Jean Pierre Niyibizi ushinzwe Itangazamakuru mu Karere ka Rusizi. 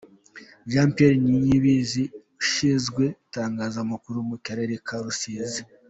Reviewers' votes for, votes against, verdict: 2, 0, accepted